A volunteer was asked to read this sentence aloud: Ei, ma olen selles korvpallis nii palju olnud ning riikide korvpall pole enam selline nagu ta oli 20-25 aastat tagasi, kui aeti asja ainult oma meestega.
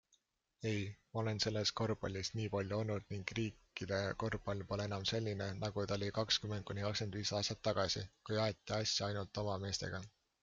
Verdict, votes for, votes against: rejected, 0, 2